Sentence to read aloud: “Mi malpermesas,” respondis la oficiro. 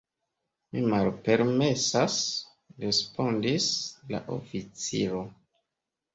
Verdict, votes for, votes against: accepted, 2, 0